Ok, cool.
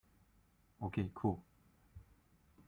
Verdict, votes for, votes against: rejected, 0, 2